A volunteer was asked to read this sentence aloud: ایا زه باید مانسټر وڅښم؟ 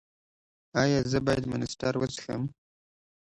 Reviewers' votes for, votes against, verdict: 2, 0, accepted